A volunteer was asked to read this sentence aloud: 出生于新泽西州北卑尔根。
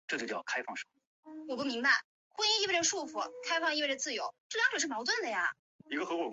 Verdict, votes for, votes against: rejected, 0, 2